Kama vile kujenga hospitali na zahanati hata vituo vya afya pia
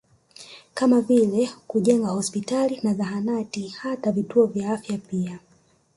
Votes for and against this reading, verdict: 2, 0, accepted